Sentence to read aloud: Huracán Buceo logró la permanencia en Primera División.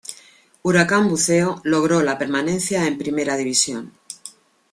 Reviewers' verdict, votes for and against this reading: accepted, 2, 0